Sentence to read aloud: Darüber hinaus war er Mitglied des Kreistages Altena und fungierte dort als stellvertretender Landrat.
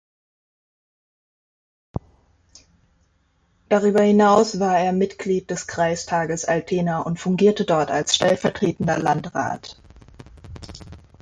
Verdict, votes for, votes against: accepted, 2, 0